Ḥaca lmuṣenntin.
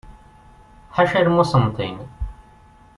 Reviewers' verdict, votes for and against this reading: accepted, 2, 0